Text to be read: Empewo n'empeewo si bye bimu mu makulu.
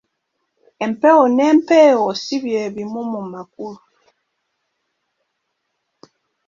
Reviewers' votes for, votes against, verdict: 1, 2, rejected